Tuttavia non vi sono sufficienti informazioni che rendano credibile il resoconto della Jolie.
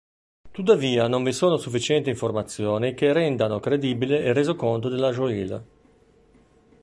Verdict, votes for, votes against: rejected, 0, 2